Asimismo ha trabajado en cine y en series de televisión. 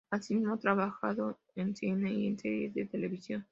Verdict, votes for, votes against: rejected, 0, 2